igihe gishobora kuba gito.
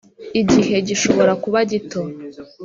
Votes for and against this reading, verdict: 4, 0, accepted